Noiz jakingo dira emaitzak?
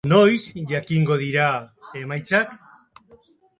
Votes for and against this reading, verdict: 2, 0, accepted